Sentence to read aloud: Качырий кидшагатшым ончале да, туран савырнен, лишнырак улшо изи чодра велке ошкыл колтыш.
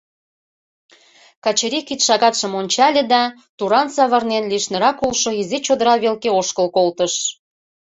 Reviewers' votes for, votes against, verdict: 2, 0, accepted